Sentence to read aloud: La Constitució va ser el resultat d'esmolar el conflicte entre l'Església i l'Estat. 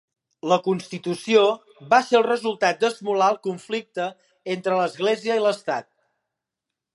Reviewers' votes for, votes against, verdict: 2, 0, accepted